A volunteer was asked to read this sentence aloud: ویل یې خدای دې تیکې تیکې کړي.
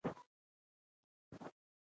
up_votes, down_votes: 2, 0